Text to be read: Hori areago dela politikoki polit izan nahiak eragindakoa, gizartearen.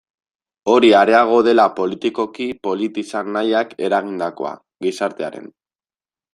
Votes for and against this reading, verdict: 2, 0, accepted